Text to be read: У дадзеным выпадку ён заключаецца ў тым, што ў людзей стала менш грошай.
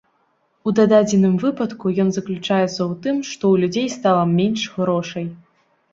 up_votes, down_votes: 1, 2